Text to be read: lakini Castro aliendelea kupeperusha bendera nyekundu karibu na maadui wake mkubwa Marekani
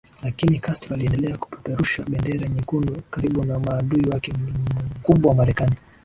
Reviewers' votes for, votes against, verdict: 2, 0, accepted